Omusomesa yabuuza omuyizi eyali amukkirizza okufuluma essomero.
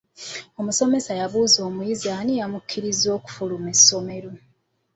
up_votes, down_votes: 0, 2